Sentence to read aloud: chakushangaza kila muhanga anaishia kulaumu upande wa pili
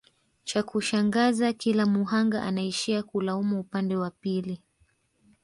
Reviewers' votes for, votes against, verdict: 1, 2, rejected